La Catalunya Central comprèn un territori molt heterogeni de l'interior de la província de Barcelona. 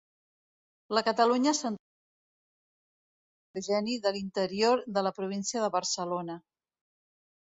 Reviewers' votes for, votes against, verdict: 1, 2, rejected